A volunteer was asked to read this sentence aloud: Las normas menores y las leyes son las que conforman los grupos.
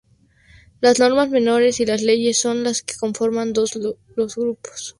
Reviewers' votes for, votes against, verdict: 0, 2, rejected